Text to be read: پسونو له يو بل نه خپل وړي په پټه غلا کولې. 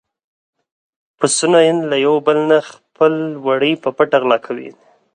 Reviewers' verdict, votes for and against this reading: accepted, 4, 0